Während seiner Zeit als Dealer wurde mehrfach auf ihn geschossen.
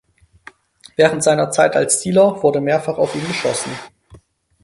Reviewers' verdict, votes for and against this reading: accepted, 4, 0